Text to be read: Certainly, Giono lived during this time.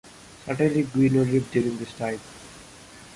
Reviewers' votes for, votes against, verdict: 1, 2, rejected